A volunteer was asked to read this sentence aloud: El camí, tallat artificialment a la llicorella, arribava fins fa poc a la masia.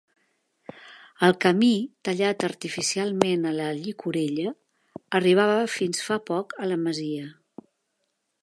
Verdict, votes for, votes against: accepted, 3, 0